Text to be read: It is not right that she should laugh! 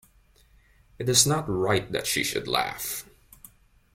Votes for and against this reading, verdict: 2, 0, accepted